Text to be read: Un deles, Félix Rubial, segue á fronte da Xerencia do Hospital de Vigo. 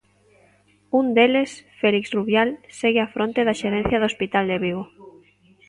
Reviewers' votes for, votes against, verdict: 2, 0, accepted